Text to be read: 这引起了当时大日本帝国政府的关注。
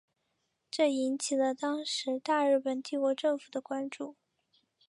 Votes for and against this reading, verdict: 2, 1, accepted